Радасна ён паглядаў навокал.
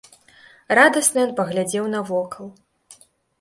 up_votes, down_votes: 0, 2